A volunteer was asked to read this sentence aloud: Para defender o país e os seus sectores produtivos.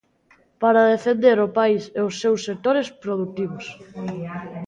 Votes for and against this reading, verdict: 2, 0, accepted